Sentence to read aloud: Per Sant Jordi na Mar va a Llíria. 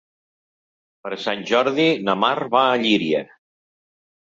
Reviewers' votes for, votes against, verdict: 4, 0, accepted